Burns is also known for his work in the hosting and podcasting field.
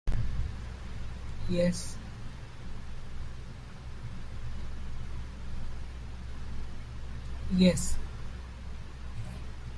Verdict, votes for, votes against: rejected, 0, 2